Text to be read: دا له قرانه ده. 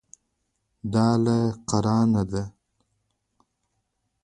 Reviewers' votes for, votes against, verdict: 2, 0, accepted